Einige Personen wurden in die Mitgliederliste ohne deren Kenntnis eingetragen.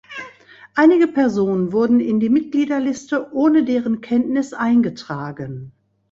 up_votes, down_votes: 2, 0